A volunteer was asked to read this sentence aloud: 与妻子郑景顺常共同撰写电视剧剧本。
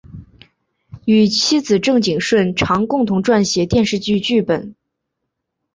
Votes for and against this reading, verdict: 2, 0, accepted